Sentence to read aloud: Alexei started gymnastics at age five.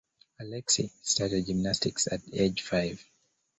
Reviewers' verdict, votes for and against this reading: accepted, 2, 0